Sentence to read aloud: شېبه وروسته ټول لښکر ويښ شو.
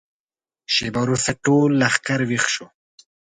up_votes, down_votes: 2, 0